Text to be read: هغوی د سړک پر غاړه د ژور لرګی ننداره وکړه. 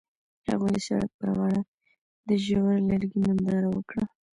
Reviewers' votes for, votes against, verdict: 0, 2, rejected